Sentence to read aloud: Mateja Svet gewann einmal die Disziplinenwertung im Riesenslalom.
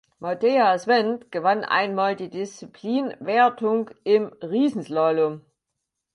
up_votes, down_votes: 2, 6